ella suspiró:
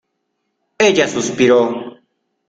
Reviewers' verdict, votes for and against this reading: accepted, 2, 0